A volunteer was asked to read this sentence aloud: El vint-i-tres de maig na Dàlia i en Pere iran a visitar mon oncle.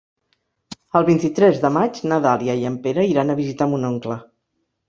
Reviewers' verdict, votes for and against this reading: accepted, 3, 0